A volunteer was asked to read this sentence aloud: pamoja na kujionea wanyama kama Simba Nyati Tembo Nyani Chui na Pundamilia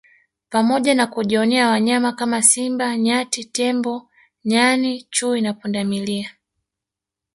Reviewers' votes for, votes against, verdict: 5, 0, accepted